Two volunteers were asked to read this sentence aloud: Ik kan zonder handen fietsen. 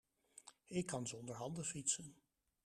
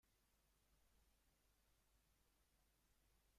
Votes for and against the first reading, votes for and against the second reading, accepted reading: 2, 0, 0, 2, first